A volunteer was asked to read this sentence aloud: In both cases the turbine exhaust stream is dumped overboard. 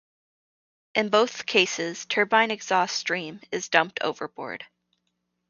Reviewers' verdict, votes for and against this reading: rejected, 0, 2